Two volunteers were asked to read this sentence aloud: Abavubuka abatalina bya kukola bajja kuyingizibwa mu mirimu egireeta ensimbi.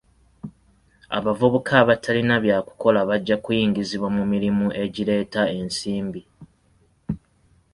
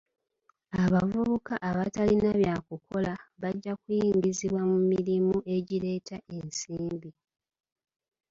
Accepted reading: first